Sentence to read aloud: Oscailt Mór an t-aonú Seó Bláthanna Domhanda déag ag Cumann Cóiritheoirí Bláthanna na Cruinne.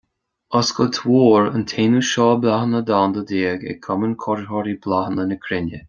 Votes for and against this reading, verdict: 2, 0, accepted